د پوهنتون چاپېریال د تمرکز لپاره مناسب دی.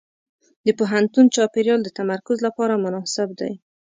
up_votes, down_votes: 2, 0